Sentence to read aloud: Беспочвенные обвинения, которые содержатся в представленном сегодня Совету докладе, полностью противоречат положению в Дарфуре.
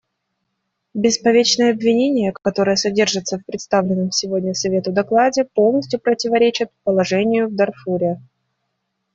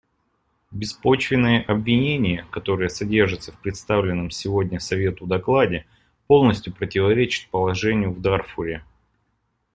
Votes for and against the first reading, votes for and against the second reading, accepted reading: 1, 2, 2, 0, second